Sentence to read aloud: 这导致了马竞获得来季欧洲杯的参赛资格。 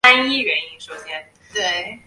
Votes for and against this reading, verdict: 0, 4, rejected